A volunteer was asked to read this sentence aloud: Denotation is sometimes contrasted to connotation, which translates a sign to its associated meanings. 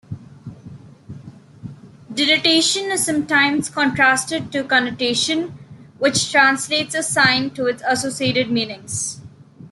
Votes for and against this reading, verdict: 3, 1, accepted